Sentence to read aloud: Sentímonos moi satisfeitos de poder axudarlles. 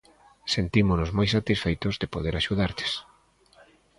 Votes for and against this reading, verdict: 2, 0, accepted